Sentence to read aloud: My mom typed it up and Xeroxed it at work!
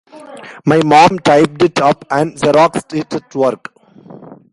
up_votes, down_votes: 2, 1